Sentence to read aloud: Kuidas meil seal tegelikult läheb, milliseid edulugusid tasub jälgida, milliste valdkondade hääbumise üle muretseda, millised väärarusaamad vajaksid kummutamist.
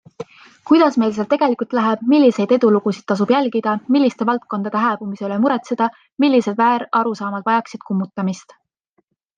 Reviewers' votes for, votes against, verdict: 2, 0, accepted